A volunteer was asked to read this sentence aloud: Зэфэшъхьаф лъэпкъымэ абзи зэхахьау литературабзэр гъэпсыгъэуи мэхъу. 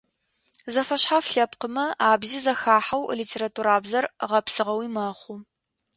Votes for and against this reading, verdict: 2, 0, accepted